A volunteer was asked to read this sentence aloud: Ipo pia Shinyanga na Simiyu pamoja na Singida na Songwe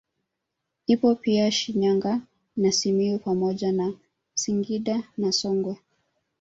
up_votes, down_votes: 1, 2